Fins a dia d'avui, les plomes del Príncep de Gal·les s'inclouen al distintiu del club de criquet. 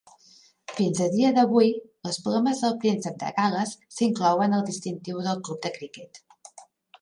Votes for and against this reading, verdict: 2, 0, accepted